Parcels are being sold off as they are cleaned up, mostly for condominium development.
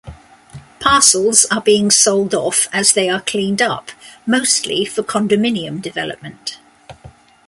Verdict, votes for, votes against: accepted, 2, 0